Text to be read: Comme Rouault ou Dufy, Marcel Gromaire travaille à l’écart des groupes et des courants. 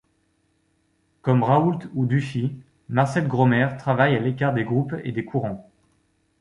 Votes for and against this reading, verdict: 2, 0, accepted